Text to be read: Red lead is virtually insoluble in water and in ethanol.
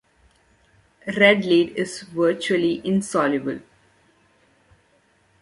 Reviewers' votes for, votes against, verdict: 2, 1, accepted